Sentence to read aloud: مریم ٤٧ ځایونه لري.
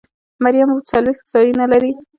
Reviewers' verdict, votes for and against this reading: rejected, 0, 2